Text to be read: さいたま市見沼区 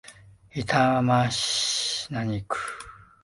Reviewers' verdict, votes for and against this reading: rejected, 0, 2